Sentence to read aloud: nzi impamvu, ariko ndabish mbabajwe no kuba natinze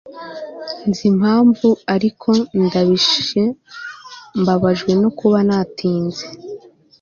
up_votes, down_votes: 2, 0